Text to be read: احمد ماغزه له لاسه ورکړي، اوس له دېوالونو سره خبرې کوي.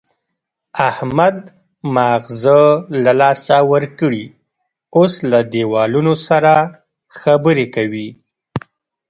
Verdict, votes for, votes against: rejected, 0, 2